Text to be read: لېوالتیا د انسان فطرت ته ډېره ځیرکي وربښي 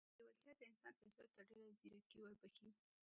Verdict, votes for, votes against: rejected, 0, 2